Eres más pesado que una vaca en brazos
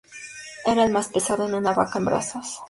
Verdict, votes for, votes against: accepted, 4, 0